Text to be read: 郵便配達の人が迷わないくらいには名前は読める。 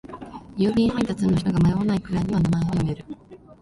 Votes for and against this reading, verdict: 1, 2, rejected